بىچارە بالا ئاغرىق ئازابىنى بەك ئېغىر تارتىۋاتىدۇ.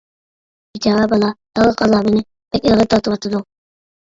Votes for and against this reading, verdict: 1, 2, rejected